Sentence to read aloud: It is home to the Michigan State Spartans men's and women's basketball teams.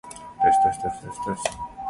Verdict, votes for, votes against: rejected, 0, 2